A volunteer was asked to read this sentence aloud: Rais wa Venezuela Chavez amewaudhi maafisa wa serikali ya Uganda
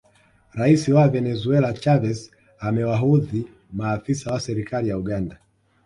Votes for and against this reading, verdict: 2, 0, accepted